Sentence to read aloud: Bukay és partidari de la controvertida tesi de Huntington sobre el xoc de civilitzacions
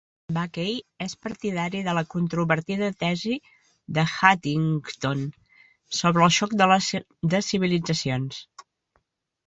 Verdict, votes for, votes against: rejected, 0, 2